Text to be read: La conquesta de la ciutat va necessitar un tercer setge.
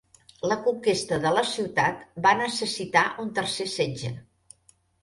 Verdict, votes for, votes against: accepted, 2, 0